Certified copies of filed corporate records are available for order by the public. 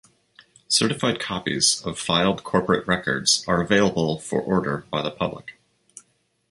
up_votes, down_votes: 2, 0